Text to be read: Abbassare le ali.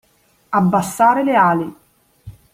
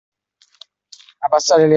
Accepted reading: first